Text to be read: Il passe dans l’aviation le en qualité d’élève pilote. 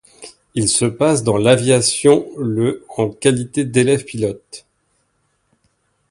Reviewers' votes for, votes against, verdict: 2, 0, accepted